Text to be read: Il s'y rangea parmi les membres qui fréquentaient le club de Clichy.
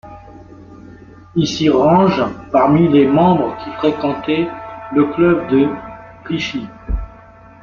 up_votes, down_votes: 0, 2